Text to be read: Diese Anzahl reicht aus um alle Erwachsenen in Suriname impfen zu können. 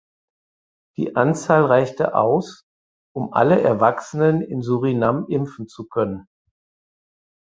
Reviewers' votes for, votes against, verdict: 0, 4, rejected